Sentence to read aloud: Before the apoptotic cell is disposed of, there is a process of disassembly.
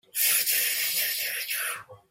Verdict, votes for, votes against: rejected, 0, 2